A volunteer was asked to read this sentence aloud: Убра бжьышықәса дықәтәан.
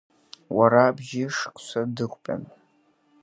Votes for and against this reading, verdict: 0, 2, rejected